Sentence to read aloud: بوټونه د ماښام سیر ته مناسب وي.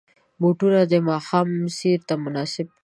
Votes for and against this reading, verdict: 0, 2, rejected